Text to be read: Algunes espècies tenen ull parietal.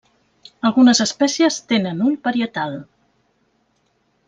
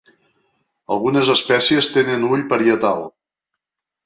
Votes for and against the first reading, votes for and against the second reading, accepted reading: 1, 2, 2, 0, second